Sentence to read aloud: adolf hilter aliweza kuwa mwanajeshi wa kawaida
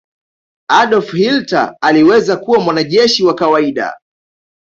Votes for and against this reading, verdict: 2, 1, accepted